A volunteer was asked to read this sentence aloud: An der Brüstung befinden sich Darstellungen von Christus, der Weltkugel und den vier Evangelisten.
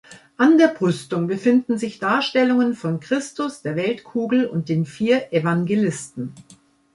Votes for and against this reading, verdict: 3, 1, accepted